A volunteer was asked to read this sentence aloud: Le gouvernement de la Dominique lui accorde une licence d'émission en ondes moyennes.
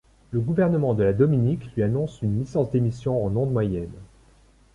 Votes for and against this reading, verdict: 1, 2, rejected